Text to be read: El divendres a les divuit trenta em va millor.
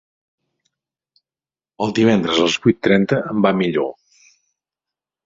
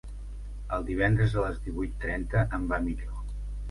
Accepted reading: second